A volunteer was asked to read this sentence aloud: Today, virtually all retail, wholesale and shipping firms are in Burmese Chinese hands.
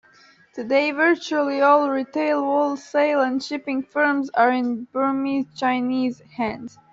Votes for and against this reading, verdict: 2, 1, accepted